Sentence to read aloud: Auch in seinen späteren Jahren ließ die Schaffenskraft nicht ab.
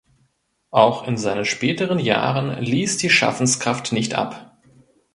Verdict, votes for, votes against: rejected, 1, 2